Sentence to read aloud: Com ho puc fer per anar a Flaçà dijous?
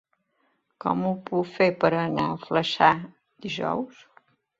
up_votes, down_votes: 2, 1